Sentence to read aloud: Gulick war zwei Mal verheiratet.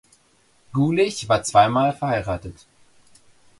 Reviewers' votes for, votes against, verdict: 0, 2, rejected